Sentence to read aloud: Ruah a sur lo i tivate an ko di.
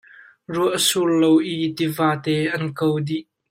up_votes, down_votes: 1, 2